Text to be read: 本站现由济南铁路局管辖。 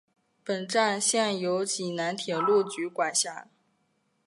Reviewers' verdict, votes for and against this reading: accepted, 2, 0